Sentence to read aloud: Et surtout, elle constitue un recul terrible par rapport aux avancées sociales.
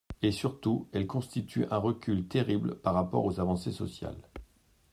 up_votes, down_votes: 2, 0